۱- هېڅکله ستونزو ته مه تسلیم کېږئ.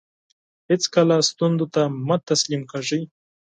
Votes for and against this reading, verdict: 0, 2, rejected